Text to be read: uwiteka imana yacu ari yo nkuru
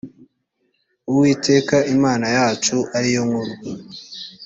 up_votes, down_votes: 2, 0